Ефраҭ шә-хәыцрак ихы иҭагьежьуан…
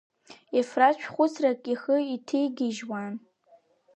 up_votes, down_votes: 1, 2